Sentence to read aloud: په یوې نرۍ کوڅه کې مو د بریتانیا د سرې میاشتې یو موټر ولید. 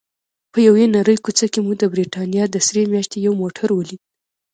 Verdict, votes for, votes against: rejected, 1, 2